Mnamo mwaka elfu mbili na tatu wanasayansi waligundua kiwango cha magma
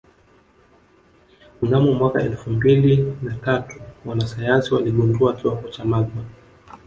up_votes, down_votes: 1, 2